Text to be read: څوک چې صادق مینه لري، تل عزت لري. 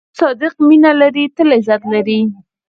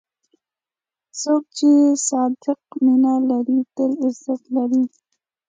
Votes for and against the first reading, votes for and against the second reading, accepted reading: 2, 4, 2, 0, second